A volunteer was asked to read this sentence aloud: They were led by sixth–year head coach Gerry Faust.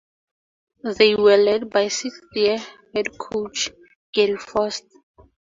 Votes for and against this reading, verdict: 2, 2, rejected